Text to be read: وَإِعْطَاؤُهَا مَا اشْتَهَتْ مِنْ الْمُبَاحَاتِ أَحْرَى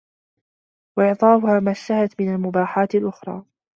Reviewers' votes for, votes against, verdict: 2, 0, accepted